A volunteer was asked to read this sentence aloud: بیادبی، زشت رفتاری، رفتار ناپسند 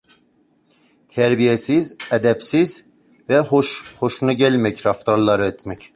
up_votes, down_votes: 0, 2